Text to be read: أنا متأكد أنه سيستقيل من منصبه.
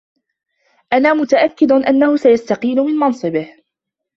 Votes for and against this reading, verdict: 2, 0, accepted